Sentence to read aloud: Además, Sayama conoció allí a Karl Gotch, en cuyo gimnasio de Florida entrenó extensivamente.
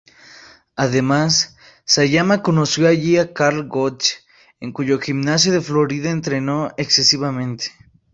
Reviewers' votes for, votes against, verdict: 0, 2, rejected